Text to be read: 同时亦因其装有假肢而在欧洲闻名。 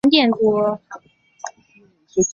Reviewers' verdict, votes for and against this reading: rejected, 3, 5